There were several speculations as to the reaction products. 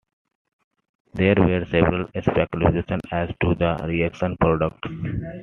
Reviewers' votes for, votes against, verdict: 2, 0, accepted